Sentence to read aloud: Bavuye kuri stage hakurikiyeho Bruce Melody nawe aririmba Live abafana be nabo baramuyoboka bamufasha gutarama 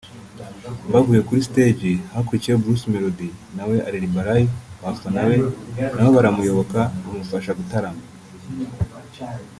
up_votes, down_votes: 1, 2